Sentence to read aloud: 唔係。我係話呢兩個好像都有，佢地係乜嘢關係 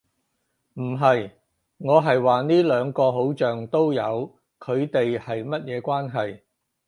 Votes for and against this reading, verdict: 2, 0, accepted